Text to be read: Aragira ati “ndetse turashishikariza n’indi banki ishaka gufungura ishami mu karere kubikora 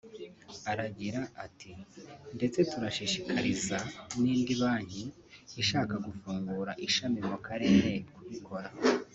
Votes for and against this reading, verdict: 1, 2, rejected